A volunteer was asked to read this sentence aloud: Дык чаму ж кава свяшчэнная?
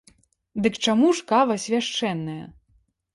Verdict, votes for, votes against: accepted, 2, 0